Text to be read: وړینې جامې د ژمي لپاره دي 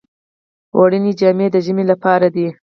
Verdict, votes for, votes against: rejected, 0, 4